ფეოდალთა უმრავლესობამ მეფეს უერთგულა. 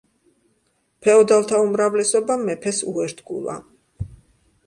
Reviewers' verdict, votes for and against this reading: accepted, 2, 0